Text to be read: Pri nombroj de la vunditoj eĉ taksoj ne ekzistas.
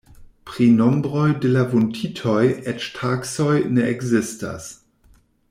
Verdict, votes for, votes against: accepted, 2, 0